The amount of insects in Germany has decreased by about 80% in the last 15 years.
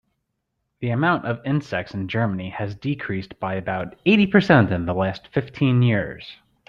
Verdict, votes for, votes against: rejected, 0, 2